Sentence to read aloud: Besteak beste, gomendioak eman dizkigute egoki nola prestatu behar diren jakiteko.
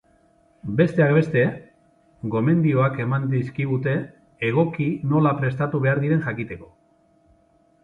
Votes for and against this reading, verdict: 3, 0, accepted